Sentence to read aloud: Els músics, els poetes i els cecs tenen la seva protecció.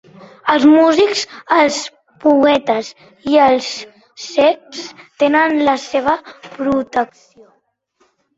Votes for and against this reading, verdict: 3, 1, accepted